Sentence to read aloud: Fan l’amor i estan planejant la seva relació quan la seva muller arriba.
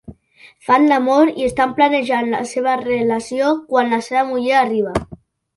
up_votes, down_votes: 2, 0